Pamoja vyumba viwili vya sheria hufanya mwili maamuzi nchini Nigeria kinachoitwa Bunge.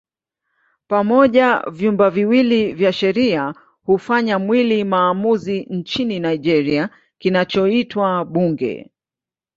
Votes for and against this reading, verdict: 2, 0, accepted